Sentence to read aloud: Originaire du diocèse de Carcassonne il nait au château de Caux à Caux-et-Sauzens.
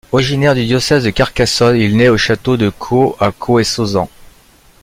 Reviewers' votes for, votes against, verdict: 1, 2, rejected